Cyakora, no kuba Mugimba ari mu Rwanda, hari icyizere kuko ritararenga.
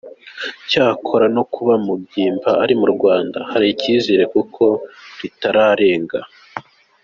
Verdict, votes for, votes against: accepted, 2, 0